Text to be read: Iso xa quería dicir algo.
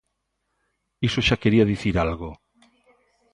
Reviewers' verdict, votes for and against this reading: accepted, 2, 0